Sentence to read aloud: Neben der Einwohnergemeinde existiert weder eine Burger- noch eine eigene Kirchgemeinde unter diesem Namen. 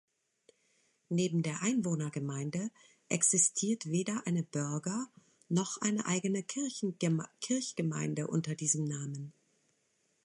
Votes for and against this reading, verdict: 0, 2, rejected